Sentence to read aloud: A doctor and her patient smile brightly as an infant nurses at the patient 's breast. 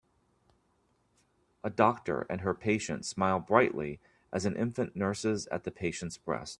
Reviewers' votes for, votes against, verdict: 2, 1, accepted